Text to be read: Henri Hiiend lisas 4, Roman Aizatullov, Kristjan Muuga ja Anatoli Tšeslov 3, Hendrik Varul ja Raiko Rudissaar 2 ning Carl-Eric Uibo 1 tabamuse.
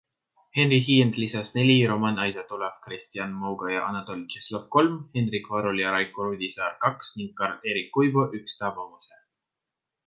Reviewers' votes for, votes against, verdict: 0, 2, rejected